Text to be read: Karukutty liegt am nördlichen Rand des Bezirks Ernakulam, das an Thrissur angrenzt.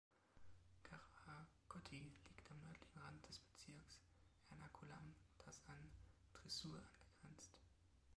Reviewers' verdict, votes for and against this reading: rejected, 1, 2